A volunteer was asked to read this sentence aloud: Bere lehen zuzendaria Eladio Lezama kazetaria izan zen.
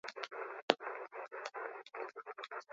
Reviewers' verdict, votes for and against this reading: rejected, 0, 4